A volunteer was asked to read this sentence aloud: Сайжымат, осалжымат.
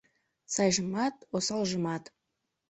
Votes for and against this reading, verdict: 2, 0, accepted